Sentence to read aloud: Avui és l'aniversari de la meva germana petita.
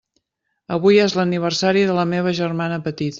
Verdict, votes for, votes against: rejected, 0, 2